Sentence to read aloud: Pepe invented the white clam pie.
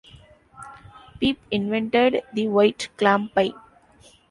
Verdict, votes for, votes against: rejected, 0, 2